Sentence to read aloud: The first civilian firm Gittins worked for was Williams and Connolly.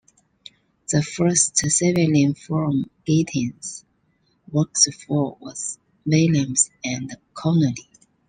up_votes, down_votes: 0, 2